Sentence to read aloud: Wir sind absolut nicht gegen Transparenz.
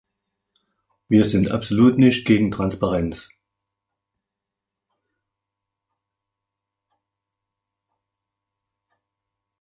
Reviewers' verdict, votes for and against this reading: accepted, 2, 0